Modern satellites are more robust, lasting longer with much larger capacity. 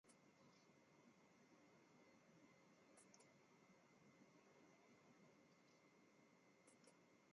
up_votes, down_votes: 0, 2